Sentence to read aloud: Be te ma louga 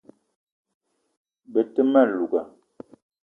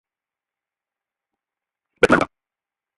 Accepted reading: first